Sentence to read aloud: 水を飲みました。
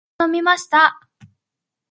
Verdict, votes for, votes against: rejected, 0, 2